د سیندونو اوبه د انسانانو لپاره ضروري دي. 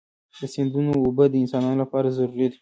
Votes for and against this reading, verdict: 1, 2, rejected